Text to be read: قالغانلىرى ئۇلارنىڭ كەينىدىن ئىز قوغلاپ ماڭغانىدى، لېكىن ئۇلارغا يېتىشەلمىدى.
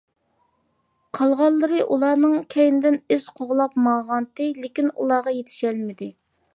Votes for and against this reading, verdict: 1, 2, rejected